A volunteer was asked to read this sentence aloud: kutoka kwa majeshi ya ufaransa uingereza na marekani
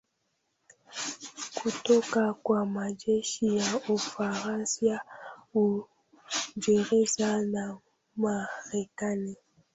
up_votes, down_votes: 0, 2